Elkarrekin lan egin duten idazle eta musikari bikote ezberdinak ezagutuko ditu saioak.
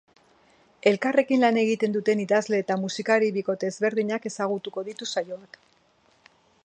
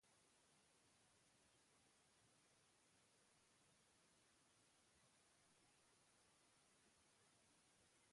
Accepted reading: first